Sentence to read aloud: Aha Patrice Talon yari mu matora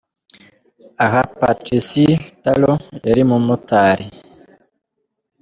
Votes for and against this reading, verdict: 0, 2, rejected